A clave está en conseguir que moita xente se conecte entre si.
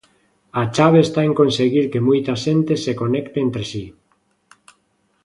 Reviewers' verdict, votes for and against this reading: rejected, 1, 2